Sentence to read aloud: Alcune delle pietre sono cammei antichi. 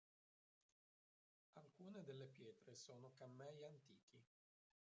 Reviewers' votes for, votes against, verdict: 0, 3, rejected